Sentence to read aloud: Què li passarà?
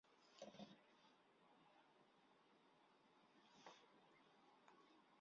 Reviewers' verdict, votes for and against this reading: rejected, 0, 2